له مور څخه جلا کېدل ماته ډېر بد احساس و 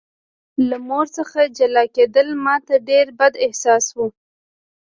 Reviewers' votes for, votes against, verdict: 2, 0, accepted